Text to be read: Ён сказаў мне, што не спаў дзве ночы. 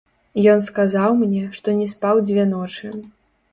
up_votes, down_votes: 0, 2